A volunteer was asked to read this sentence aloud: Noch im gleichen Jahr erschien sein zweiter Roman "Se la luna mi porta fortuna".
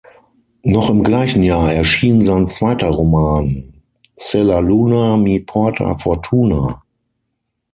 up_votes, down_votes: 6, 0